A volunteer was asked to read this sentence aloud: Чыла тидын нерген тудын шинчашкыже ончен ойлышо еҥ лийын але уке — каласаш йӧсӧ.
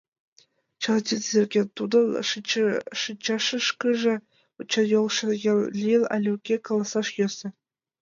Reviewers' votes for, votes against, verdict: 0, 2, rejected